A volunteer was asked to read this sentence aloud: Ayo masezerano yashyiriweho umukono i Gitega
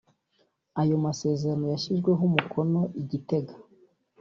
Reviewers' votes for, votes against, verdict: 2, 0, accepted